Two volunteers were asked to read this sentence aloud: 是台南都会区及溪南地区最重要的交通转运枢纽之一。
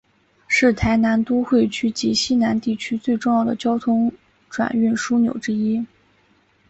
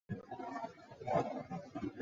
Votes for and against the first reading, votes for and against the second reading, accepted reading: 5, 0, 0, 2, first